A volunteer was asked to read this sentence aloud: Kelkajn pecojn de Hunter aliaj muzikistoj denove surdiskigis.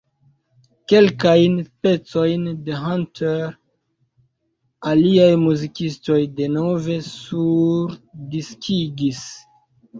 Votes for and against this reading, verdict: 2, 0, accepted